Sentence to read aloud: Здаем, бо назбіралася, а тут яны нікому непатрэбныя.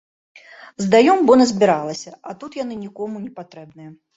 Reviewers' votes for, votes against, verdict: 1, 2, rejected